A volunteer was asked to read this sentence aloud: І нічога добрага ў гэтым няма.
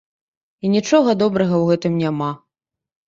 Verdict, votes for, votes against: accepted, 2, 0